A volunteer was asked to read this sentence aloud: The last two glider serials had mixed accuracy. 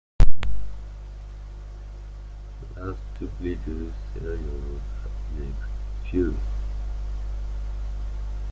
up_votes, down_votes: 1, 2